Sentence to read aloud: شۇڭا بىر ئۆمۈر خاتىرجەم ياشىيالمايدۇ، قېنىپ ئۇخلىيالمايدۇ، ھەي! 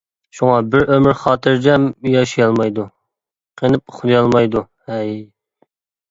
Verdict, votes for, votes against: accepted, 2, 0